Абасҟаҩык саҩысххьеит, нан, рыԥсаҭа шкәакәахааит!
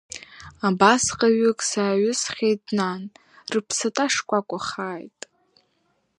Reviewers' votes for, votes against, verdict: 2, 0, accepted